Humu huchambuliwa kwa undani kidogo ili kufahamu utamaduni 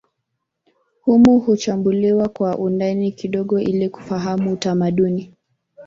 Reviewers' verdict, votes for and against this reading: rejected, 1, 2